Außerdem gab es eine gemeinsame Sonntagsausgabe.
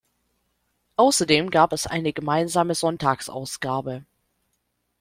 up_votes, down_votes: 2, 0